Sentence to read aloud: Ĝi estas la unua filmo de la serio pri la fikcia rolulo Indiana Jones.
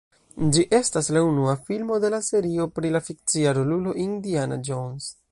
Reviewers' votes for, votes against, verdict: 2, 1, accepted